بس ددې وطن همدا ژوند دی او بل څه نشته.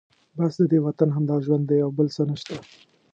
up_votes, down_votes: 2, 0